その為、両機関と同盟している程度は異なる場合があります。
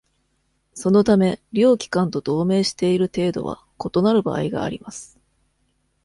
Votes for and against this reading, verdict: 2, 0, accepted